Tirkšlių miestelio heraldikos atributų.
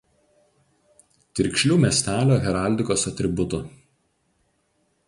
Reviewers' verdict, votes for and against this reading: rejected, 2, 2